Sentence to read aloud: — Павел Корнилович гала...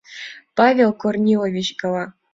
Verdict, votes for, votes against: accepted, 2, 0